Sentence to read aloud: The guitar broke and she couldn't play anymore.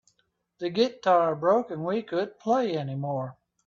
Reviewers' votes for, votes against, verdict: 0, 3, rejected